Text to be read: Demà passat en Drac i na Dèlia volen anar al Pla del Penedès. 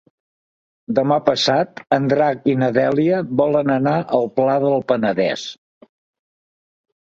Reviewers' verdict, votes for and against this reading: accepted, 3, 0